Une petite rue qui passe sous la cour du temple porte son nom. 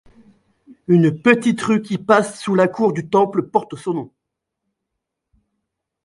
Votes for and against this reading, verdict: 1, 2, rejected